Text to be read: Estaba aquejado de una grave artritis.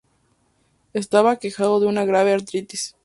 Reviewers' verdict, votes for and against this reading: accepted, 2, 0